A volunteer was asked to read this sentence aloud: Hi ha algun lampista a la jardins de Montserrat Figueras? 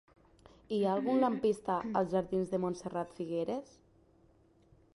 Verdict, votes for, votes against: rejected, 0, 2